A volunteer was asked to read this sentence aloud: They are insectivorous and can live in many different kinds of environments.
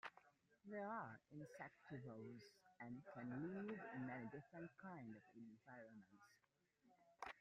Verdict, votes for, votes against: accepted, 2, 1